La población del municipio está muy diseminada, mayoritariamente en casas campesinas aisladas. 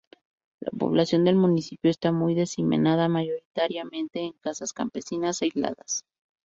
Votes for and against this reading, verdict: 2, 0, accepted